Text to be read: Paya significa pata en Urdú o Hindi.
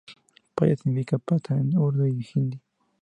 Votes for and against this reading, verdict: 0, 2, rejected